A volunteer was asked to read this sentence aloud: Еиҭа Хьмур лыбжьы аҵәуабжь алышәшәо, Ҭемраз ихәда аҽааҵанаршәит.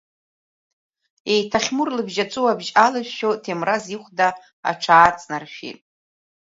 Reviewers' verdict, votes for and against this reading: rejected, 1, 2